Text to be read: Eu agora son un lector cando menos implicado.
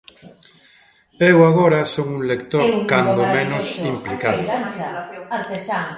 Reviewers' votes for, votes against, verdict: 0, 2, rejected